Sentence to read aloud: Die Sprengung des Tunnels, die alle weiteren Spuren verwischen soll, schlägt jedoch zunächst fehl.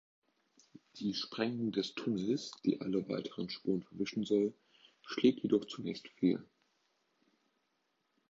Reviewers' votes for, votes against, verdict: 1, 2, rejected